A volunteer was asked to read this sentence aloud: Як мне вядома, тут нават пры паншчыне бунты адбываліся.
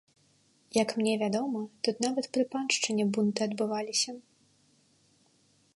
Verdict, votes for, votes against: accepted, 2, 0